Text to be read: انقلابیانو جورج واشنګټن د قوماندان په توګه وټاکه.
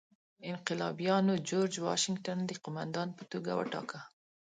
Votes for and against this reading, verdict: 2, 0, accepted